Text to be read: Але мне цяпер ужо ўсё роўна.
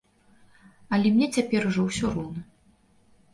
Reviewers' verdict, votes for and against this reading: accepted, 3, 0